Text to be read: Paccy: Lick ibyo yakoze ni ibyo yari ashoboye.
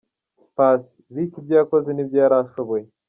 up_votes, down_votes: 2, 0